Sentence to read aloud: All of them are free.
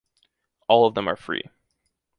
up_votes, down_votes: 2, 0